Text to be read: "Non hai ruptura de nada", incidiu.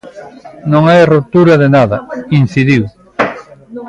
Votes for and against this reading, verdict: 1, 2, rejected